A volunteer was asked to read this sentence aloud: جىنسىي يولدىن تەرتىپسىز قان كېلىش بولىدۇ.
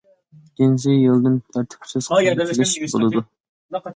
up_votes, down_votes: 0, 2